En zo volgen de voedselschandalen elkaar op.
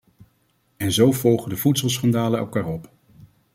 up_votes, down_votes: 2, 0